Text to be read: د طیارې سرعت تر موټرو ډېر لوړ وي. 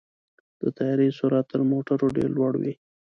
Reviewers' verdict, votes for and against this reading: rejected, 1, 2